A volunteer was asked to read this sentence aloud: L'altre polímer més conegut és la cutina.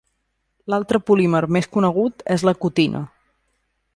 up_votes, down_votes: 2, 0